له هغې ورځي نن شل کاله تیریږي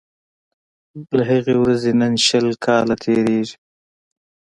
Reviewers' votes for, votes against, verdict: 2, 0, accepted